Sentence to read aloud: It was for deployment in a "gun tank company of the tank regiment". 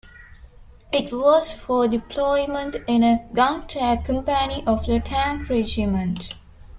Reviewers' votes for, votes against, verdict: 2, 1, accepted